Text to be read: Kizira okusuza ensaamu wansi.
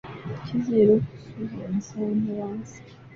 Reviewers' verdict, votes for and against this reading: rejected, 0, 2